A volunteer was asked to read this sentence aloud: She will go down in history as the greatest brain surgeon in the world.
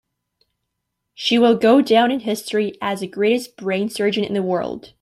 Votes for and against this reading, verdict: 2, 0, accepted